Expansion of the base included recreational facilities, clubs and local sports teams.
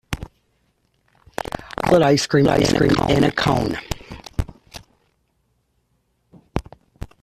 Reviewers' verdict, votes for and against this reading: rejected, 0, 2